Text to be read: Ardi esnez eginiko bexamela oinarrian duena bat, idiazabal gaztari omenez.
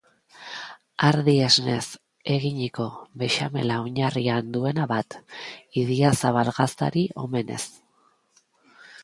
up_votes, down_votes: 3, 0